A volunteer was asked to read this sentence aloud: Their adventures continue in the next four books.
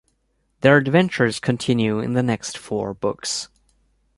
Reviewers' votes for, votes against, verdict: 2, 0, accepted